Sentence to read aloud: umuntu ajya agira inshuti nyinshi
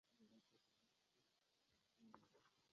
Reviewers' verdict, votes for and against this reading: rejected, 0, 2